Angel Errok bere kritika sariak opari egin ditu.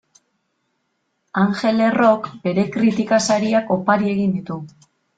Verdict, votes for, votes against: accepted, 2, 0